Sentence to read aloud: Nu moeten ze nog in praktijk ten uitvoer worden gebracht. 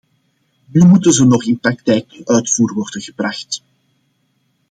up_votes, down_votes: 1, 2